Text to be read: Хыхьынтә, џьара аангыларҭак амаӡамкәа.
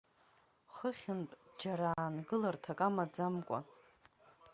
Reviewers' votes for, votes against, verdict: 4, 0, accepted